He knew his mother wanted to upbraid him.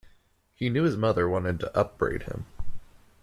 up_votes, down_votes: 2, 0